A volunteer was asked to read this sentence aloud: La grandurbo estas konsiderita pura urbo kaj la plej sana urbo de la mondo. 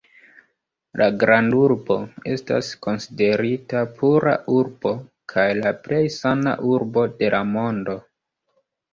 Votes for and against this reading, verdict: 1, 2, rejected